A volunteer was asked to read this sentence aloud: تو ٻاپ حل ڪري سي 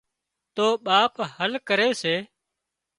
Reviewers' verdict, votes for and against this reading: accepted, 3, 0